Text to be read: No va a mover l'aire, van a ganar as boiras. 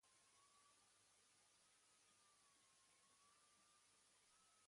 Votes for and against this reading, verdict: 1, 2, rejected